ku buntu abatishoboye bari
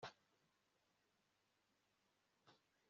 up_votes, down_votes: 0, 2